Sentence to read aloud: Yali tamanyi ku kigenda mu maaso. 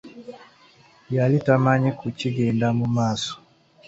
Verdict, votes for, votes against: accepted, 2, 0